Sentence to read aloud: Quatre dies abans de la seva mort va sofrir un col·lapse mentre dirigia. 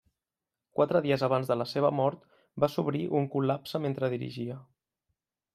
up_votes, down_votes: 1, 2